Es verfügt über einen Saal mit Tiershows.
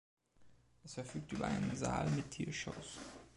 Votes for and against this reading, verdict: 2, 0, accepted